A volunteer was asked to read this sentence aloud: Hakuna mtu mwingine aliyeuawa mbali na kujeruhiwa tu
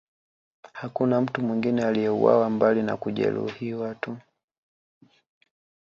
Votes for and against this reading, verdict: 1, 2, rejected